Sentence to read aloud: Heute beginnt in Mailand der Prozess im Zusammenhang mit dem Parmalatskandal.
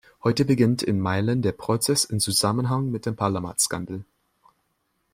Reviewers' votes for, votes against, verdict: 0, 2, rejected